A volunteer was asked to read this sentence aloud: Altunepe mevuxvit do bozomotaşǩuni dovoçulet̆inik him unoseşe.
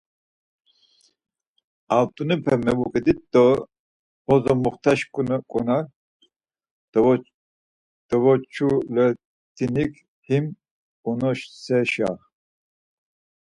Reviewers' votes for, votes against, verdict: 0, 4, rejected